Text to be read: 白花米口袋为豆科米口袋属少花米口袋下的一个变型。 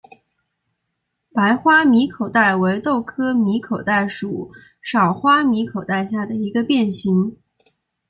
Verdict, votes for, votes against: accepted, 2, 0